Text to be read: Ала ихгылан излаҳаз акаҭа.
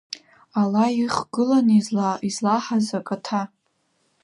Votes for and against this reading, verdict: 0, 2, rejected